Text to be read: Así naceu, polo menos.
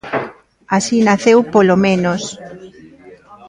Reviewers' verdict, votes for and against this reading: accepted, 2, 0